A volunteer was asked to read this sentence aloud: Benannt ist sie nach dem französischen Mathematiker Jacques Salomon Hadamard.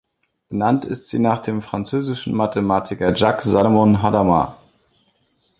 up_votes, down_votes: 0, 2